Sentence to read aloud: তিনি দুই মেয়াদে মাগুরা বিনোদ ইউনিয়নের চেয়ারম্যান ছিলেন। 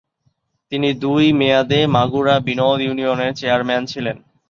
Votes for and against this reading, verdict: 1, 2, rejected